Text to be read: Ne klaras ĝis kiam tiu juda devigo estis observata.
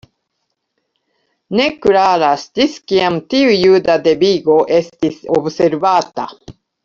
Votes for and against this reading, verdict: 2, 0, accepted